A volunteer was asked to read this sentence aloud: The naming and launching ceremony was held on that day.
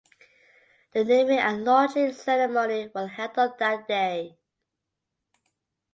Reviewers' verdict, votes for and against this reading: rejected, 1, 2